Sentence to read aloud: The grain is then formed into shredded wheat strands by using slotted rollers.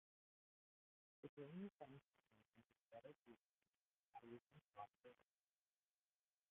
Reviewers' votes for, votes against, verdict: 0, 2, rejected